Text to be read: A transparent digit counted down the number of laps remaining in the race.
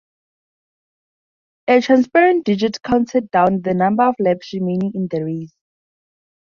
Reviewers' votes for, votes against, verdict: 2, 0, accepted